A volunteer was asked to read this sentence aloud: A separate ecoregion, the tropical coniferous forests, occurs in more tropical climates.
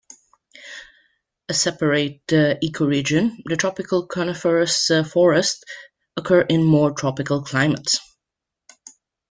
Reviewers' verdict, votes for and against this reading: rejected, 1, 2